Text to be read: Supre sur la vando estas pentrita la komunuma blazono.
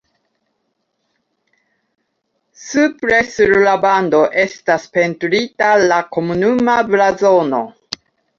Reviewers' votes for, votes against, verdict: 2, 0, accepted